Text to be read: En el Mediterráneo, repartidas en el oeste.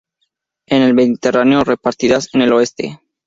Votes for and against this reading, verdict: 2, 0, accepted